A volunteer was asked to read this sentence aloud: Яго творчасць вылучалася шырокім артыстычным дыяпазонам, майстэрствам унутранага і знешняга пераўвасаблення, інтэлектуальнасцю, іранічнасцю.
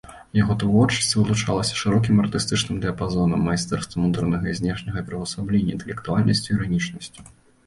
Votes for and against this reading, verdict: 2, 0, accepted